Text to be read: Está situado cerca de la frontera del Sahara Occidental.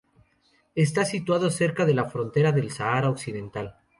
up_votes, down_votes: 2, 0